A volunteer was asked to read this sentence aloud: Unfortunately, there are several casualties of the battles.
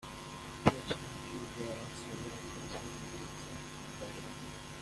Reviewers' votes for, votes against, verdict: 0, 2, rejected